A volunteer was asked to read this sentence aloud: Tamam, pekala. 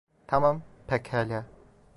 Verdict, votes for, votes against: rejected, 0, 2